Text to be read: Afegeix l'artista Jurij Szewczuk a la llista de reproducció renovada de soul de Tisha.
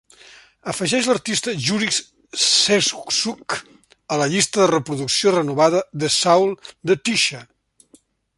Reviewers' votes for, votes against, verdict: 2, 0, accepted